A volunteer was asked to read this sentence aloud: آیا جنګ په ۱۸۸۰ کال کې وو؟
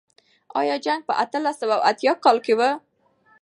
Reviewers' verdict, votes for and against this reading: rejected, 0, 2